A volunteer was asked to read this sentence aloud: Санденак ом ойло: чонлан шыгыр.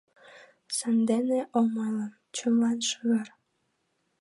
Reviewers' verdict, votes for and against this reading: rejected, 1, 2